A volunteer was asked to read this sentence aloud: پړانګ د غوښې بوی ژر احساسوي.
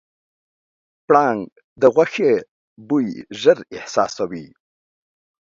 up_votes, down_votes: 3, 0